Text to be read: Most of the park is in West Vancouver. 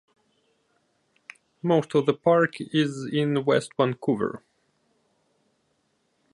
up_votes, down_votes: 2, 1